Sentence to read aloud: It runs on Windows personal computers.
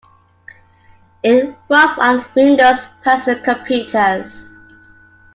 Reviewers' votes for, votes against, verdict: 0, 2, rejected